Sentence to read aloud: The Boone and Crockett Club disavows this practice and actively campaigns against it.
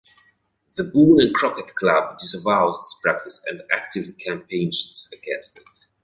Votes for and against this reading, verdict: 2, 0, accepted